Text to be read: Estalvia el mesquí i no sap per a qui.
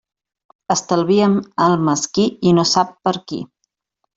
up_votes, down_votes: 1, 2